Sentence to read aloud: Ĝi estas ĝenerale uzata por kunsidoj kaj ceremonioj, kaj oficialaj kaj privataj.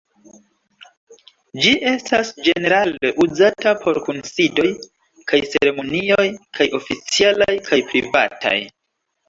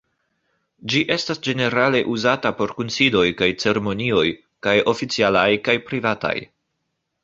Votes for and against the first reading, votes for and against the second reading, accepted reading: 3, 1, 0, 2, first